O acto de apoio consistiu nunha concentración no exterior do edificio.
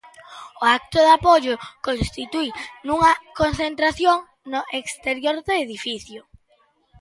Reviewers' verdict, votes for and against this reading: rejected, 0, 2